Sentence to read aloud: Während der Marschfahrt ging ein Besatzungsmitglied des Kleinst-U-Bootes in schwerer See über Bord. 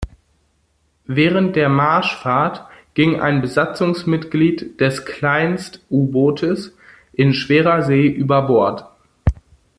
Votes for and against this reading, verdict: 2, 0, accepted